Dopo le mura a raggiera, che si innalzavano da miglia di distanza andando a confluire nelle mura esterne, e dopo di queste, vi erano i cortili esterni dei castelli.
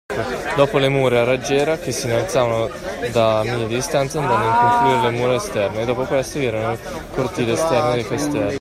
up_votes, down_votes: 1, 2